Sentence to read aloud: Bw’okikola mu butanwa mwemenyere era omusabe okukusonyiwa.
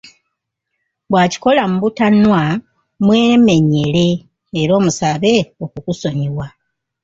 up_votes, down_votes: 0, 2